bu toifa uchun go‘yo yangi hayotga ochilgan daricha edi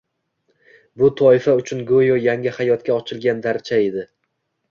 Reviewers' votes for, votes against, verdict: 2, 0, accepted